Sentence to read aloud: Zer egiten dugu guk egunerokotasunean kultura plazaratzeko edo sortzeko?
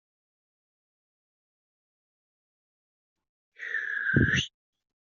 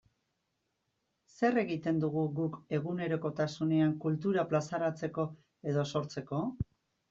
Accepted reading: second